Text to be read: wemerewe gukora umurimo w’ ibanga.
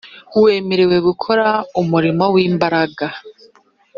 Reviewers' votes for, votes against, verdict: 0, 2, rejected